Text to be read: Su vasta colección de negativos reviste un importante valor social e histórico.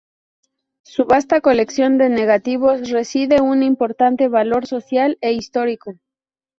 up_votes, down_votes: 2, 2